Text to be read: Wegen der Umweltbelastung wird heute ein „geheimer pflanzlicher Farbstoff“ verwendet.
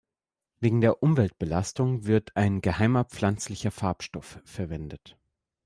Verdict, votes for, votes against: rejected, 0, 2